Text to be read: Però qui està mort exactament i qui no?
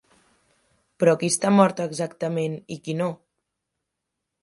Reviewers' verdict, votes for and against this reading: accepted, 2, 0